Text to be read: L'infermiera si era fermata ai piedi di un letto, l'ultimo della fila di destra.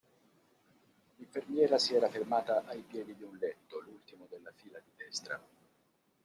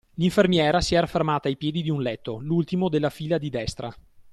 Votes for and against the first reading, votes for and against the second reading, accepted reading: 0, 2, 2, 0, second